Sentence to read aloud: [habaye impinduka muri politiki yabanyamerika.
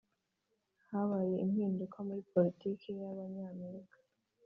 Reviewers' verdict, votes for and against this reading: accepted, 3, 0